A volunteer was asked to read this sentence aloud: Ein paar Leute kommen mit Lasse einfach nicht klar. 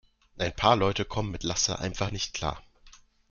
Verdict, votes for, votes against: accepted, 2, 0